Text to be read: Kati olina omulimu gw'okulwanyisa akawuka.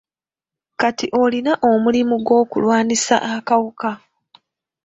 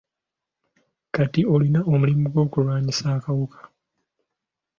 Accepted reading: second